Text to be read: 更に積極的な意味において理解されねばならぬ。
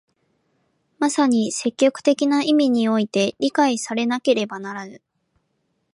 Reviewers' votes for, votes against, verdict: 0, 2, rejected